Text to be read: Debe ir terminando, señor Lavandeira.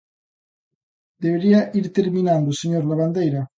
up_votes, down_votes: 0, 2